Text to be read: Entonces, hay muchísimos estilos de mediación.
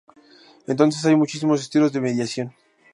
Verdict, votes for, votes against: rejected, 0, 2